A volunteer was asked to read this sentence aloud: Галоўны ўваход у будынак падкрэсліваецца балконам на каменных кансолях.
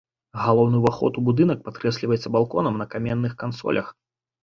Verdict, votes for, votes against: accepted, 2, 0